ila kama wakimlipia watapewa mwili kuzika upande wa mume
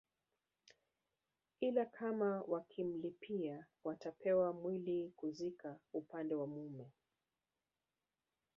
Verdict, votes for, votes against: rejected, 1, 2